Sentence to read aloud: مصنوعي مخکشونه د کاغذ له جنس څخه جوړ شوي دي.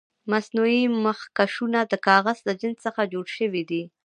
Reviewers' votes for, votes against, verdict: 2, 0, accepted